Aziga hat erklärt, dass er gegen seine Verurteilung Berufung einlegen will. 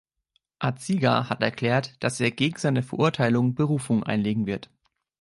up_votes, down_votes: 0, 2